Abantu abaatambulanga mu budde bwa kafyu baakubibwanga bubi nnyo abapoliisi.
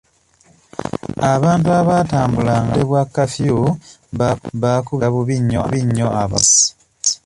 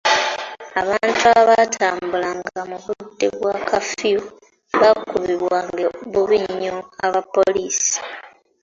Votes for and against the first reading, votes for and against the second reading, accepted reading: 0, 2, 2, 1, second